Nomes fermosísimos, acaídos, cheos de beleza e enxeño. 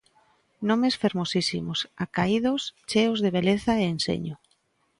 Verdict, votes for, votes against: accepted, 3, 0